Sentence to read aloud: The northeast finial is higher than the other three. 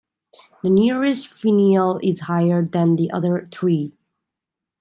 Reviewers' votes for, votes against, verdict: 1, 2, rejected